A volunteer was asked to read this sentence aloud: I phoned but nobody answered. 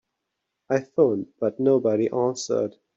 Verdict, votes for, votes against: accepted, 2, 0